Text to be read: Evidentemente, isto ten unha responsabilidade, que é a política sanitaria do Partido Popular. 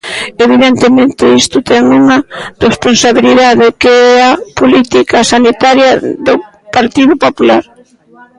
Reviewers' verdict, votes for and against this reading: accepted, 2, 1